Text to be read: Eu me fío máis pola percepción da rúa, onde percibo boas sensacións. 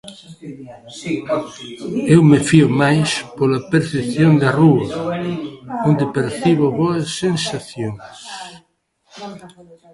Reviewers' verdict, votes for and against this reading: rejected, 0, 2